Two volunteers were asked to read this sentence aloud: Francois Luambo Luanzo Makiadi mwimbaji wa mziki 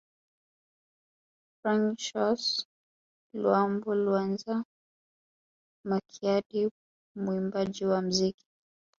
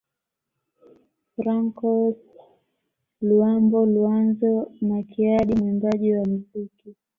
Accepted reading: second